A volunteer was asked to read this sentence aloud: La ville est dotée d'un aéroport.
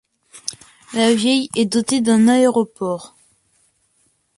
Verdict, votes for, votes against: accepted, 2, 1